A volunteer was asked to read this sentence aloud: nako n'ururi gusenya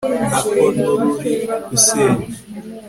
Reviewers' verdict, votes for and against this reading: accepted, 2, 0